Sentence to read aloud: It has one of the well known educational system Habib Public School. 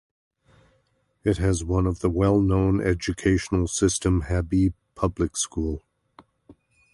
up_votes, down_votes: 2, 0